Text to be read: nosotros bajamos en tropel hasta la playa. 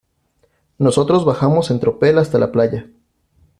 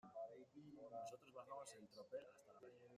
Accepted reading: first